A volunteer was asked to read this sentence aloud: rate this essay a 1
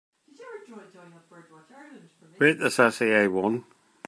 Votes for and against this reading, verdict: 0, 2, rejected